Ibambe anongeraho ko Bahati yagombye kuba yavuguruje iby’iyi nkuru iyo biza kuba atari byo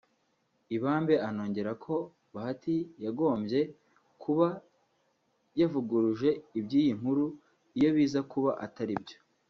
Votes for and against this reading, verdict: 2, 1, accepted